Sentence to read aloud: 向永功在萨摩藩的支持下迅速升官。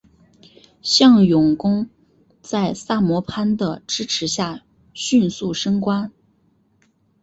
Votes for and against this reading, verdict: 1, 2, rejected